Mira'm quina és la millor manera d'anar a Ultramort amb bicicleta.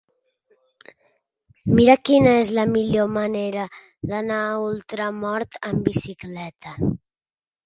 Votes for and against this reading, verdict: 2, 1, accepted